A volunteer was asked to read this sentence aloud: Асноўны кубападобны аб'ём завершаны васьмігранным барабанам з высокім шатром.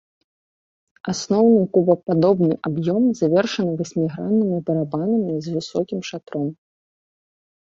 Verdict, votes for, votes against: rejected, 0, 2